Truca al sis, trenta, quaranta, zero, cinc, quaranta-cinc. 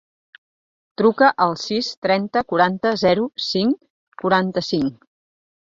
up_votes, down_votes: 4, 0